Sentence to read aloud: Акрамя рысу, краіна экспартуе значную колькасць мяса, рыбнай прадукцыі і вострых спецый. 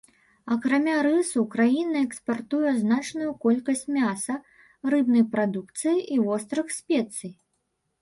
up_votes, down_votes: 2, 0